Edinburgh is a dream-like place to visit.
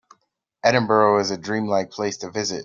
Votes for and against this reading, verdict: 2, 0, accepted